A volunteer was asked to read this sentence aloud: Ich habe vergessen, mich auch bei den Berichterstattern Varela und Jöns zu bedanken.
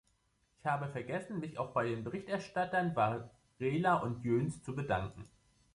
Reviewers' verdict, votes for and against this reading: rejected, 1, 2